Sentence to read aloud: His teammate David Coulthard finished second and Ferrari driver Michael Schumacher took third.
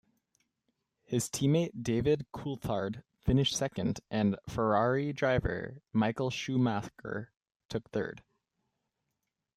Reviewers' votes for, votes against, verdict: 2, 0, accepted